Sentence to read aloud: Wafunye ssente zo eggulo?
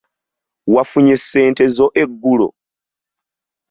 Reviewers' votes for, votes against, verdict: 2, 0, accepted